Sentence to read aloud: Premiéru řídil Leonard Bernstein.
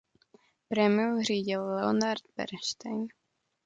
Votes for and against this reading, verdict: 1, 2, rejected